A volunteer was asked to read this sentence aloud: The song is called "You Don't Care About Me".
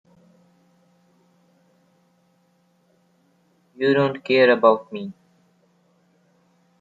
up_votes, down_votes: 0, 2